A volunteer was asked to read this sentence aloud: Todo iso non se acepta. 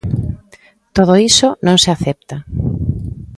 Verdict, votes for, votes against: accepted, 2, 0